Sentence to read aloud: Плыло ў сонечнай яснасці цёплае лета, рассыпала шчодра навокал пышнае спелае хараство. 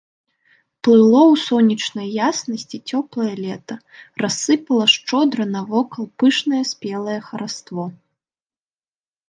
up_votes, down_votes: 2, 0